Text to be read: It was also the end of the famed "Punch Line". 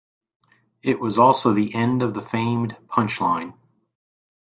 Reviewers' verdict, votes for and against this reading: accepted, 2, 0